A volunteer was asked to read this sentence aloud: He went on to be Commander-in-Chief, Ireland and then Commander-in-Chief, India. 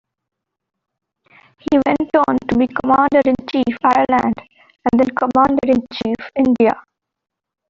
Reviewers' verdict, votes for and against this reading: accepted, 2, 1